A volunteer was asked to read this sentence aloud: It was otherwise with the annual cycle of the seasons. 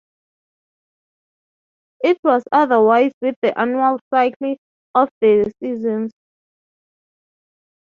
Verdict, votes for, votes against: rejected, 0, 3